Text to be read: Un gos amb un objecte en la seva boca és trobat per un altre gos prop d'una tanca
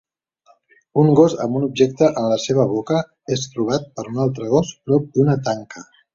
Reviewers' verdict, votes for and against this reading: accepted, 2, 0